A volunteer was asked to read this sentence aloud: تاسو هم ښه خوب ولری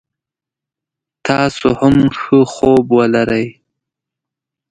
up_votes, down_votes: 2, 0